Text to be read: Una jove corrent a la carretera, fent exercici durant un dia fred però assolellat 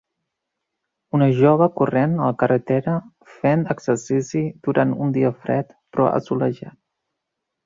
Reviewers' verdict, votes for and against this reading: rejected, 0, 3